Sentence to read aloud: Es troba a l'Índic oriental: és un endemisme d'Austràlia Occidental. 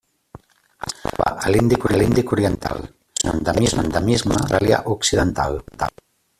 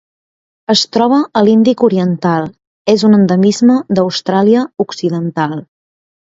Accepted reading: second